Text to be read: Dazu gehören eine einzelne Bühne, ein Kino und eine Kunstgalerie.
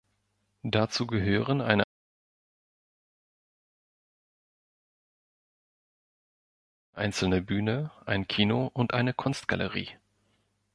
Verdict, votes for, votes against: rejected, 1, 3